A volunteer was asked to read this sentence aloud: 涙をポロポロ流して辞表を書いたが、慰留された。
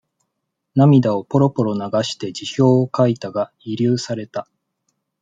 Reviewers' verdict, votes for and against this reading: accepted, 2, 0